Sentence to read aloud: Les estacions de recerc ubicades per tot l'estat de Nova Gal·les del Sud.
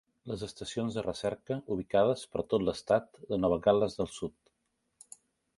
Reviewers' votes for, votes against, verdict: 1, 2, rejected